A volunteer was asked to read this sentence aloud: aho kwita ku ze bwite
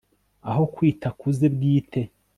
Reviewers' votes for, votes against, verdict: 2, 0, accepted